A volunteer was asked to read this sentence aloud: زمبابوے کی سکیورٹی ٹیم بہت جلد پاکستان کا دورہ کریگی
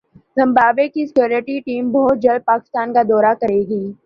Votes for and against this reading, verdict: 2, 0, accepted